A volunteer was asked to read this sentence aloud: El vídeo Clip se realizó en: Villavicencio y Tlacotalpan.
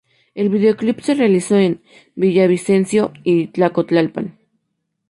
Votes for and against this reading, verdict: 0, 2, rejected